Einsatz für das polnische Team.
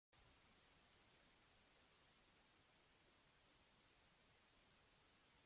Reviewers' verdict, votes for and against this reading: rejected, 0, 2